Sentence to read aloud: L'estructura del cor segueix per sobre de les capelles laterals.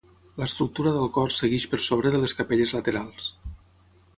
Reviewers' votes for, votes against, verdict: 6, 3, accepted